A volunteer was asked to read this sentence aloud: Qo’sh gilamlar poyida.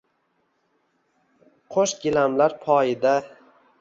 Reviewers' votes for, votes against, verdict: 2, 1, accepted